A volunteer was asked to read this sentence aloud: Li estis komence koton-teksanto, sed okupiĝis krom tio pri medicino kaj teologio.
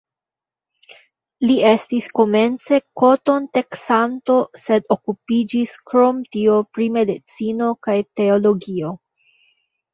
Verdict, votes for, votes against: accepted, 2, 0